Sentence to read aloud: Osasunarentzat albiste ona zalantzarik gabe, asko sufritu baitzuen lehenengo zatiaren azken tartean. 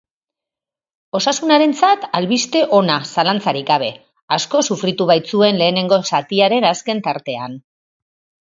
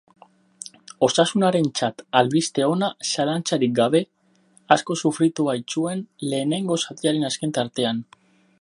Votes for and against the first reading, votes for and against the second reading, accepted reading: 4, 0, 0, 4, first